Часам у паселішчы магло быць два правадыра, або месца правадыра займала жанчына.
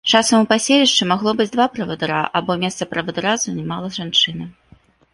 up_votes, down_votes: 2, 0